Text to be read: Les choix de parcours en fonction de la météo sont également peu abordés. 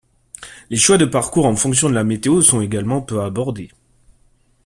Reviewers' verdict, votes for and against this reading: accepted, 2, 1